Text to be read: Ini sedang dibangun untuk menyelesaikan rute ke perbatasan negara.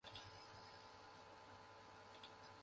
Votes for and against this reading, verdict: 0, 2, rejected